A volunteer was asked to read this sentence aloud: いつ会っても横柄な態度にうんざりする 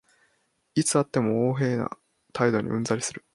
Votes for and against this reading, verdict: 2, 0, accepted